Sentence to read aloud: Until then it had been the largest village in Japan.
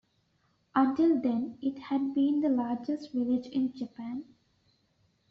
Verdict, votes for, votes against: accepted, 2, 0